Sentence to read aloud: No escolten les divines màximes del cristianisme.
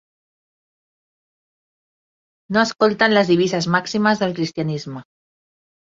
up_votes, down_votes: 0, 3